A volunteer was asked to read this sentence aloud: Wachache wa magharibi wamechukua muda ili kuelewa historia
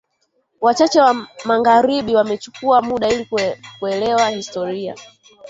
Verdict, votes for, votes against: rejected, 0, 2